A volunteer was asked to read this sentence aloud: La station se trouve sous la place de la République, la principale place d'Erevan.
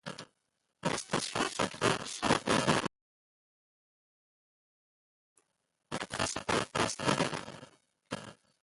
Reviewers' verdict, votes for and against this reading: rejected, 1, 2